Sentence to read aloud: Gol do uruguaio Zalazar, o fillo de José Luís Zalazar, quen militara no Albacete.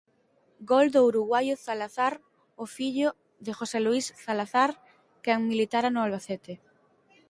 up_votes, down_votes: 2, 0